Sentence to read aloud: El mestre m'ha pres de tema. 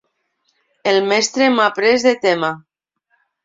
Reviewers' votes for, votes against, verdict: 2, 0, accepted